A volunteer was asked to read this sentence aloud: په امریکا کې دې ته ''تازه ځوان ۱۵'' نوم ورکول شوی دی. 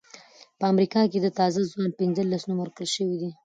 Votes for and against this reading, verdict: 0, 2, rejected